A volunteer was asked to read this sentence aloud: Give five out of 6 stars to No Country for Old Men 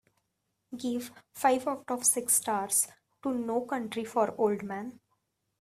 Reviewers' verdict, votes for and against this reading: rejected, 0, 2